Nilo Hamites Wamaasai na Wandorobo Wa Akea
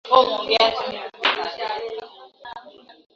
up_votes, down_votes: 2, 5